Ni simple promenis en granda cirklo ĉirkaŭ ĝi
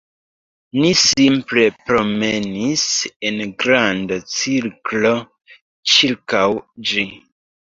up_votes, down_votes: 2, 0